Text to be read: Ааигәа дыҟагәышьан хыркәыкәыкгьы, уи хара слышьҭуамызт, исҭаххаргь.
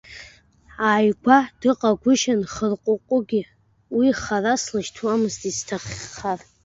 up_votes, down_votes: 2, 1